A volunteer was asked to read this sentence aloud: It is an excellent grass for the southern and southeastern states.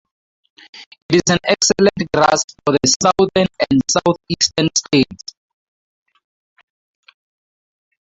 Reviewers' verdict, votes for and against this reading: rejected, 0, 2